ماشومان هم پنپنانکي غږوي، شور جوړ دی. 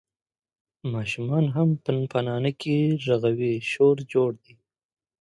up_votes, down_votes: 2, 0